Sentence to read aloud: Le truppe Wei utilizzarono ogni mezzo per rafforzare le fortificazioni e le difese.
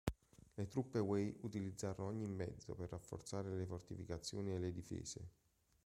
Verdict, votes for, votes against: accepted, 2, 1